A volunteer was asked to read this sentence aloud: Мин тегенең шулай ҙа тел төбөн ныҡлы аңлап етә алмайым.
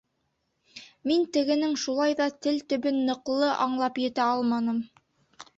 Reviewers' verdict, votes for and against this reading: rejected, 0, 2